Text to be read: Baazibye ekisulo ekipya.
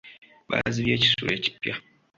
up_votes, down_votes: 2, 1